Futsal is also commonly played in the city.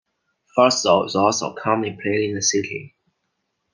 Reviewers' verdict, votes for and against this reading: accepted, 2, 0